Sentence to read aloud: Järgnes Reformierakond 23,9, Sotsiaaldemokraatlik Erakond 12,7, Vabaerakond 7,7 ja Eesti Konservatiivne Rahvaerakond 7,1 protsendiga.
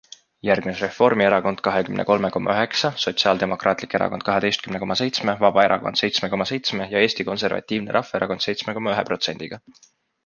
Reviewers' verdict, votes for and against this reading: rejected, 0, 2